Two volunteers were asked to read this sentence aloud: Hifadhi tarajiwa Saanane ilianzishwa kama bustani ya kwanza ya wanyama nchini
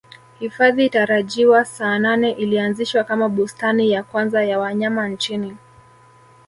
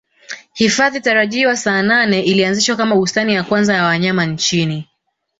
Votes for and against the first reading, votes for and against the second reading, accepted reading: 1, 2, 2, 0, second